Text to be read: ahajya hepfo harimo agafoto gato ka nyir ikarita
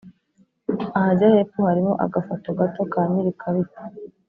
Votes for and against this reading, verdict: 2, 0, accepted